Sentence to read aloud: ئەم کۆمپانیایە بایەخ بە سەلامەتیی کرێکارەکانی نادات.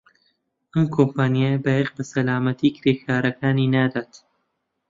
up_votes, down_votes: 2, 0